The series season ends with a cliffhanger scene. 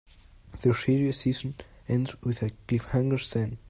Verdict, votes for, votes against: rejected, 1, 2